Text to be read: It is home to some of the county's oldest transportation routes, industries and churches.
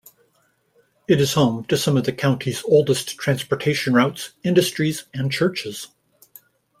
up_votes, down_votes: 2, 0